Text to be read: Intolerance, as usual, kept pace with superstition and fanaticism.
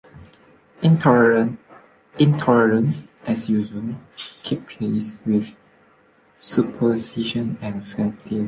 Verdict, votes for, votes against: rejected, 0, 3